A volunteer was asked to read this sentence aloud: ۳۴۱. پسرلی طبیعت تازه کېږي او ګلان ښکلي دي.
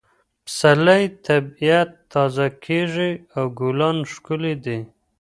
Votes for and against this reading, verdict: 0, 2, rejected